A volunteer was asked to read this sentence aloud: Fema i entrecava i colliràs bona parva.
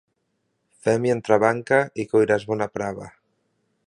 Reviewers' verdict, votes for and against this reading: rejected, 1, 2